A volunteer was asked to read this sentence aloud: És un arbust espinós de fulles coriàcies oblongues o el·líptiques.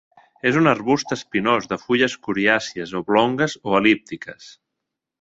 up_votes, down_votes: 2, 0